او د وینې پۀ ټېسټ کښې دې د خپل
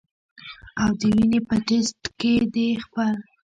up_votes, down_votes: 1, 2